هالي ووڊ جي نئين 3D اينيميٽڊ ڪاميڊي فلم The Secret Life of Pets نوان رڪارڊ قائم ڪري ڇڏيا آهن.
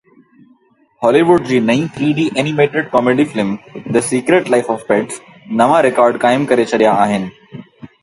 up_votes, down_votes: 0, 2